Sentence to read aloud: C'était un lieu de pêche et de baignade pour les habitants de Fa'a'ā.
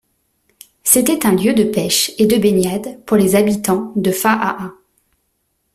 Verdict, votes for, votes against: accepted, 2, 0